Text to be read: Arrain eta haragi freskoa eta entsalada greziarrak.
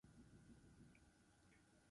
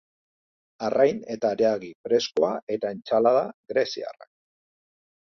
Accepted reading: second